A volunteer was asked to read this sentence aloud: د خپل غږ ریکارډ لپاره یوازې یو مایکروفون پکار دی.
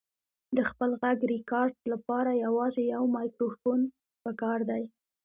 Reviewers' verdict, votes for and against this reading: rejected, 1, 2